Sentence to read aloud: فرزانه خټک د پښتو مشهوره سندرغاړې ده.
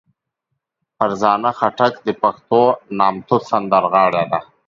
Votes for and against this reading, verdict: 0, 2, rejected